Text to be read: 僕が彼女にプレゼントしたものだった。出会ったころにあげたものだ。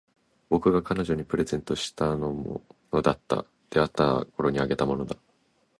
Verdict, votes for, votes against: rejected, 1, 2